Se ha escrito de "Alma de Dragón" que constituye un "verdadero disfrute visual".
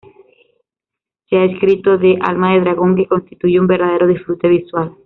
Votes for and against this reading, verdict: 2, 0, accepted